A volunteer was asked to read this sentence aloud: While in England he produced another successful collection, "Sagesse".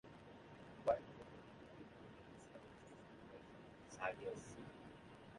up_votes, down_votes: 0, 2